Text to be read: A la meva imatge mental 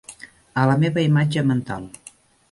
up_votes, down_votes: 3, 0